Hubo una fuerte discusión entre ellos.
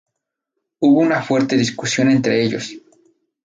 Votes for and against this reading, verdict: 4, 0, accepted